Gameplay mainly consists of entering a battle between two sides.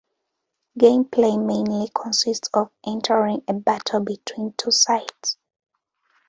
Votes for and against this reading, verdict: 2, 0, accepted